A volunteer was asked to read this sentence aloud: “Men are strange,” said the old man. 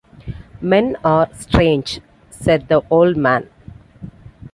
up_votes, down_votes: 2, 0